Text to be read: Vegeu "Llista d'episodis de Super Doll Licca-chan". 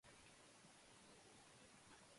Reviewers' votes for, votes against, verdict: 0, 2, rejected